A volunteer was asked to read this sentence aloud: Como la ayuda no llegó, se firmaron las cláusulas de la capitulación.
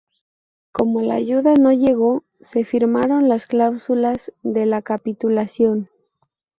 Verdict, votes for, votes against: accepted, 2, 0